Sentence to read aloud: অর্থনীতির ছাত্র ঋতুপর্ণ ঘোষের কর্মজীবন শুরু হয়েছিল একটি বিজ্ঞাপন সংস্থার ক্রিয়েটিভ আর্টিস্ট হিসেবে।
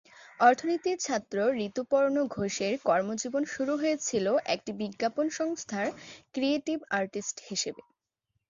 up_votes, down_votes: 3, 0